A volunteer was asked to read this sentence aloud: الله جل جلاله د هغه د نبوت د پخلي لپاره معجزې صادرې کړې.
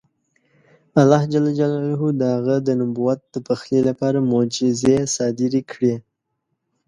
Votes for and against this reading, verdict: 2, 0, accepted